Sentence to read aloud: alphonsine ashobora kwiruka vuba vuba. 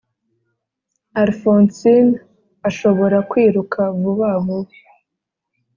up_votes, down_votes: 2, 0